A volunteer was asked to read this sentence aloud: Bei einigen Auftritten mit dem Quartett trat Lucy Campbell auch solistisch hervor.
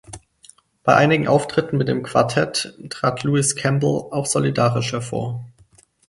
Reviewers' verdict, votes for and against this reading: rejected, 0, 6